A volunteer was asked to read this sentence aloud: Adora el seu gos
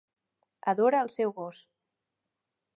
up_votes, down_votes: 3, 0